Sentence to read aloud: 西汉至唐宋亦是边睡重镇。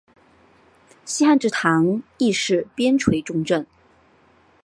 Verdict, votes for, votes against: accepted, 2, 0